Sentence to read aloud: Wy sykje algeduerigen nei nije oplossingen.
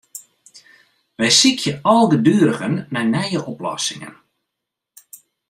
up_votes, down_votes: 2, 0